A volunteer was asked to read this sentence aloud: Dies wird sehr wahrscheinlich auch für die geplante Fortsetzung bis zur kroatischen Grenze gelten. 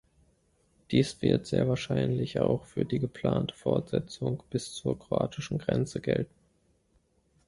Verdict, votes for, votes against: accepted, 2, 0